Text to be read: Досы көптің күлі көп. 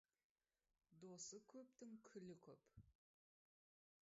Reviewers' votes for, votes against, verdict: 0, 2, rejected